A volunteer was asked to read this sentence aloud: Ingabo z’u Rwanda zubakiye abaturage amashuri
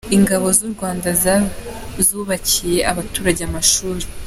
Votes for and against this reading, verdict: 1, 2, rejected